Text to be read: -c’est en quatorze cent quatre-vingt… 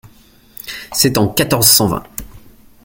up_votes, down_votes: 1, 2